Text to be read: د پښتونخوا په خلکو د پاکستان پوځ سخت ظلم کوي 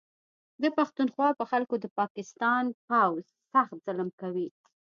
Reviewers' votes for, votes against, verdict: 2, 0, accepted